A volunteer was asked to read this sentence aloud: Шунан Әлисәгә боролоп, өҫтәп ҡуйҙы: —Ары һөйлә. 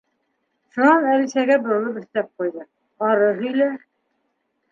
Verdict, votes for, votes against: accepted, 2, 0